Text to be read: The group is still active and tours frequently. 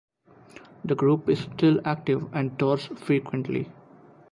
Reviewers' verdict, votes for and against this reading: accepted, 2, 0